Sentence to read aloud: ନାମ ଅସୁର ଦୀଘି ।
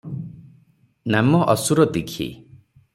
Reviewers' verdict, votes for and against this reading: accepted, 6, 0